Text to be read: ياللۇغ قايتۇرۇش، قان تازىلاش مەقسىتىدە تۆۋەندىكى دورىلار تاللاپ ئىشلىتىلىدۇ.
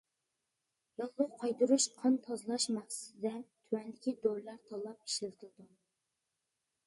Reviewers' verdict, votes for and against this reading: rejected, 0, 2